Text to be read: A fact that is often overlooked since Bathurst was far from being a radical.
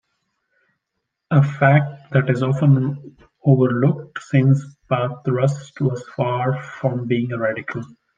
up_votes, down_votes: 1, 2